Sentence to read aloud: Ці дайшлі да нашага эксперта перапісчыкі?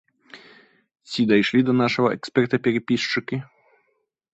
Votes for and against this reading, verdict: 0, 2, rejected